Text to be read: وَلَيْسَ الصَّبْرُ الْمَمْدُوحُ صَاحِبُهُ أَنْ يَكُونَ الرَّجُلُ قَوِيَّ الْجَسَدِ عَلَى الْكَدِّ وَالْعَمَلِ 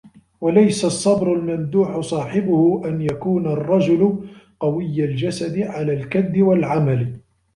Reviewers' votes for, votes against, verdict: 2, 0, accepted